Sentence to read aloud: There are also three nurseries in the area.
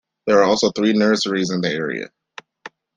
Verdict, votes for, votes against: accepted, 2, 0